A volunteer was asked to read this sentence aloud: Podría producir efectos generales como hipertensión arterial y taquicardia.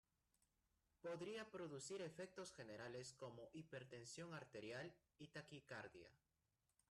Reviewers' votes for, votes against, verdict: 1, 2, rejected